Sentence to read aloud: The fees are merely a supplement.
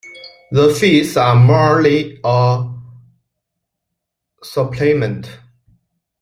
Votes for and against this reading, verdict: 0, 2, rejected